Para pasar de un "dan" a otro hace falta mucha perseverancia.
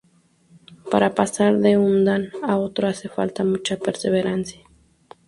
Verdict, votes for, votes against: accepted, 2, 0